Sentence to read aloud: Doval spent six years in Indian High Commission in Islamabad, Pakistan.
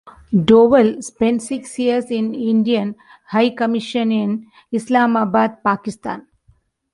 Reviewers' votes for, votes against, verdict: 2, 0, accepted